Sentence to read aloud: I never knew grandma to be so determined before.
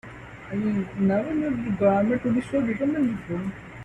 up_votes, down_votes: 1, 2